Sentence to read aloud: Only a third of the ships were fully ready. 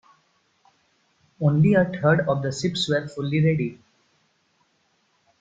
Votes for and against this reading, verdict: 1, 2, rejected